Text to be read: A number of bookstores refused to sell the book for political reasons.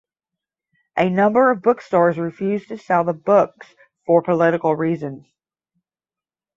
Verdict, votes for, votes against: rejected, 5, 10